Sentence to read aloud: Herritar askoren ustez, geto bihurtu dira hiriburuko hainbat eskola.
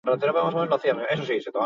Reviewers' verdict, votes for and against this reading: rejected, 0, 6